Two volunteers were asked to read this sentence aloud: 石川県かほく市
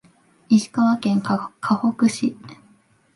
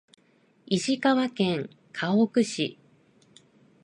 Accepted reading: second